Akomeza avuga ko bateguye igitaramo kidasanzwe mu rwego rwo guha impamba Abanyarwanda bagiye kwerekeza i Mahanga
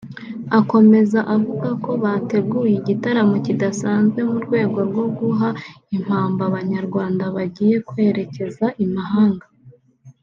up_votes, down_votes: 3, 0